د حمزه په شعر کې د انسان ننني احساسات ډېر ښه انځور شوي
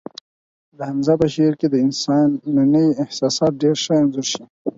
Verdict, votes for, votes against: accepted, 4, 0